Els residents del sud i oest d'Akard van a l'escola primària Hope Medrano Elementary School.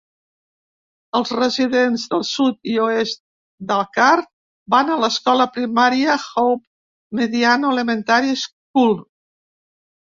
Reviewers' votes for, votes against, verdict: 0, 2, rejected